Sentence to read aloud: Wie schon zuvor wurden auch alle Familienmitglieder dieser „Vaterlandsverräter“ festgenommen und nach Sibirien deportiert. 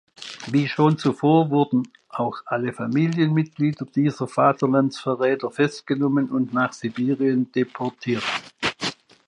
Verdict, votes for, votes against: accepted, 2, 0